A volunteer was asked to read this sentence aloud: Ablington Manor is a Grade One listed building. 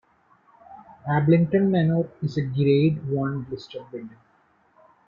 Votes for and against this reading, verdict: 2, 0, accepted